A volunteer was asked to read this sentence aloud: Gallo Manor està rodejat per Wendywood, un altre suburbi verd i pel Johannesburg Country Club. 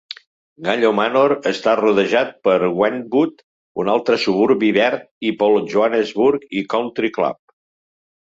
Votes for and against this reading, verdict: 1, 3, rejected